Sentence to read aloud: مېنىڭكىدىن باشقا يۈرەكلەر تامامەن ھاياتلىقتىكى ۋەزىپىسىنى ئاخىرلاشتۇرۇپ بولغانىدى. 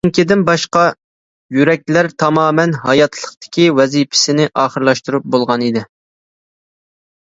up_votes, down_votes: 1, 2